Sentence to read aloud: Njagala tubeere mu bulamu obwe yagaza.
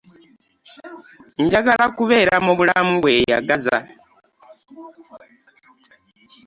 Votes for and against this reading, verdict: 0, 2, rejected